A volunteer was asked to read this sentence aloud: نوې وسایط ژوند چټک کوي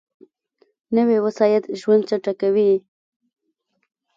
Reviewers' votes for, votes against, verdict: 1, 2, rejected